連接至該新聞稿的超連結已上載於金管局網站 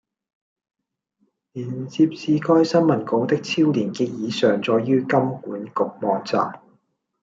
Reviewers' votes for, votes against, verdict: 1, 2, rejected